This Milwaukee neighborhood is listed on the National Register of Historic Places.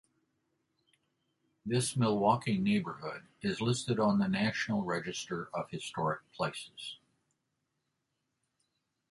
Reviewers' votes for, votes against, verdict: 2, 0, accepted